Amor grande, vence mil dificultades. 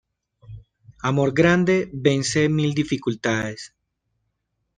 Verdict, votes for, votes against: accepted, 2, 1